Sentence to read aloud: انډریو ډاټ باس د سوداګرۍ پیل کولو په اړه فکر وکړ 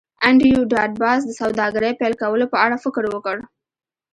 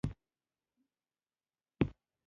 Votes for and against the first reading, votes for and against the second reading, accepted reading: 2, 0, 0, 2, first